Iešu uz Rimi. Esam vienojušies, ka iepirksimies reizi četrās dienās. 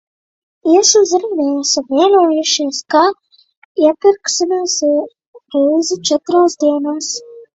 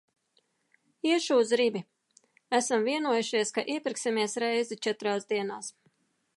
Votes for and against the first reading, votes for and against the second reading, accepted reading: 1, 2, 2, 0, second